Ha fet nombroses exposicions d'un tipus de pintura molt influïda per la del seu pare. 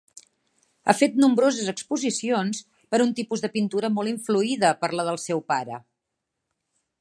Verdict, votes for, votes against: rejected, 1, 2